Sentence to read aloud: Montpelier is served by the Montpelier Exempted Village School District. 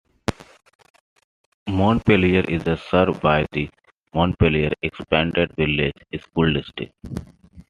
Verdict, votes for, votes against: accepted, 2, 1